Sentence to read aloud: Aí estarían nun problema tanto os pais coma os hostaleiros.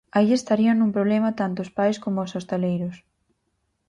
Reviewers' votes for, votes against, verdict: 4, 0, accepted